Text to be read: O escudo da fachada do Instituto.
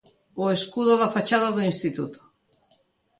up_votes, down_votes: 2, 0